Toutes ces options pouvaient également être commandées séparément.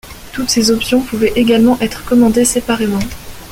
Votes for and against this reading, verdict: 2, 0, accepted